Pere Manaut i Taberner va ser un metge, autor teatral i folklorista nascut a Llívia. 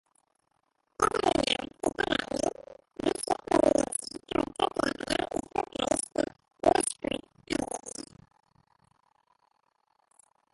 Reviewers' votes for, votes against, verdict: 0, 2, rejected